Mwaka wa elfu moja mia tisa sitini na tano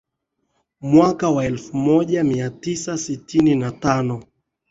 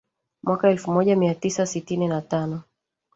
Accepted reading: first